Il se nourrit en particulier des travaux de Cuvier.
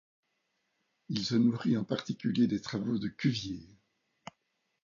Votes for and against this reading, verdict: 2, 0, accepted